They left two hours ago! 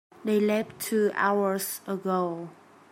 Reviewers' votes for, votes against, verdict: 2, 0, accepted